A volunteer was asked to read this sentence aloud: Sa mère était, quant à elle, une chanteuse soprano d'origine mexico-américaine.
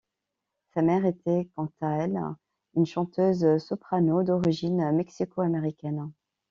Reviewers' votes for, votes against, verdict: 3, 0, accepted